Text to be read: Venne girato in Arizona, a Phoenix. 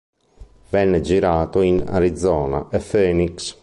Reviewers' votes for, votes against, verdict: 2, 0, accepted